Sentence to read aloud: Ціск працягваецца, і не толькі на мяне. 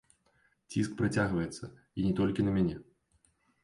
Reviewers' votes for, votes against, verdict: 2, 0, accepted